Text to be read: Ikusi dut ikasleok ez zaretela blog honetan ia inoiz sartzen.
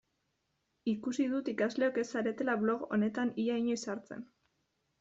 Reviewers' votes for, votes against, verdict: 2, 0, accepted